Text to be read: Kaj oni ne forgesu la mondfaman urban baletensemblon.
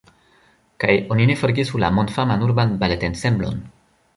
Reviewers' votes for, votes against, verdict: 2, 1, accepted